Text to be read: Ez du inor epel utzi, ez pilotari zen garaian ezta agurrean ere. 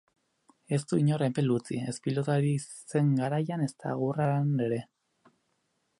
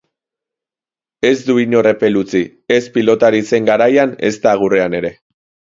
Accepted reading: second